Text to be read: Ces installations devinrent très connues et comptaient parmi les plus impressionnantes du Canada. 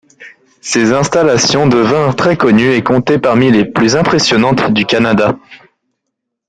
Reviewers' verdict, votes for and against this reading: accepted, 2, 0